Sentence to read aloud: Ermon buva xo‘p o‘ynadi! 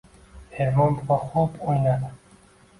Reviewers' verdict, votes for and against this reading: rejected, 1, 2